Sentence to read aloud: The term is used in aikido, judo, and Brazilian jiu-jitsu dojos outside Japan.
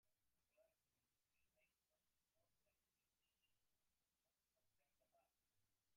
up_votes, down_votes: 0, 2